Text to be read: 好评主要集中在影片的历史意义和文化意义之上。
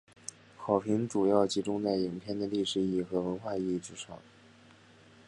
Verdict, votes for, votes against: accepted, 6, 0